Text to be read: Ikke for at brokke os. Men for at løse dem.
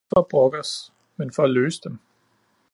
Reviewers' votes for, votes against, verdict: 0, 2, rejected